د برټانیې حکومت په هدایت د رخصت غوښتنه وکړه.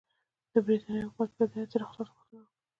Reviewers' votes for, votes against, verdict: 0, 2, rejected